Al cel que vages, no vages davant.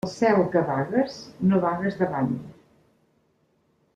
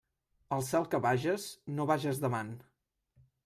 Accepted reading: second